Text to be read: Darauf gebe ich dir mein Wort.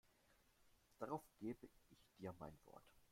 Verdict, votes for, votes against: rejected, 0, 2